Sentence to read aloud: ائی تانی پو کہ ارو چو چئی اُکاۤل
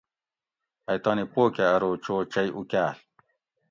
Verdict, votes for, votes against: accepted, 2, 0